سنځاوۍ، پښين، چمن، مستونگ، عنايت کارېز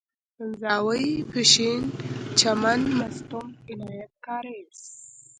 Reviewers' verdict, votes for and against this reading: accepted, 2, 0